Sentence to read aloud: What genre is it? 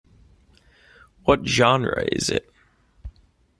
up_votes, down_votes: 2, 0